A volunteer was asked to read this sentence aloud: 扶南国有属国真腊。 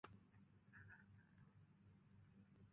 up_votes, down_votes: 0, 2